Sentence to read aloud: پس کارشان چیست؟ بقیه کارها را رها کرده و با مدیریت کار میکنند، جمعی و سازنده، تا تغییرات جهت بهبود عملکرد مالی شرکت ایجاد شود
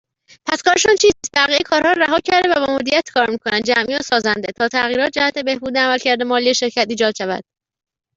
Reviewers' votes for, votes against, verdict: 1, 2, rejected